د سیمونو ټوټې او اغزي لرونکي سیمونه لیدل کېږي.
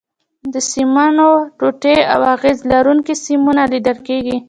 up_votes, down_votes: 2, 0